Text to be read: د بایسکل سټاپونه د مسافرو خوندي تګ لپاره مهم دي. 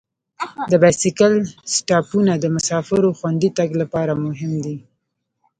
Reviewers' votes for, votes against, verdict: 1, 2, rejected